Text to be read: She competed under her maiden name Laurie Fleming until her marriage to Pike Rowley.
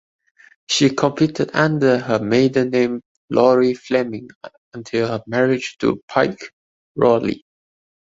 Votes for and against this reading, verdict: 1, 2, rejected